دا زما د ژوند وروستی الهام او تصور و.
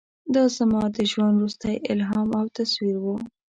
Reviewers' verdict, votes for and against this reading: rejected, 1, 2